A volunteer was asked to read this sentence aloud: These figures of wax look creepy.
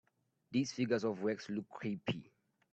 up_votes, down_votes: 0, 2